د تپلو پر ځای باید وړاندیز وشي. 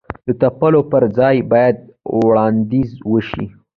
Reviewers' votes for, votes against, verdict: 1, 2, rejected